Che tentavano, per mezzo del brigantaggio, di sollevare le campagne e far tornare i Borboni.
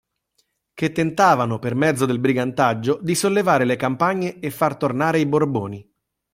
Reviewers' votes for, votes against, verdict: 2, 0, accepted